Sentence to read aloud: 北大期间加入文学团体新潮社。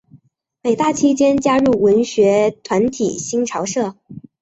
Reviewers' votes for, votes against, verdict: 0, 2, rejected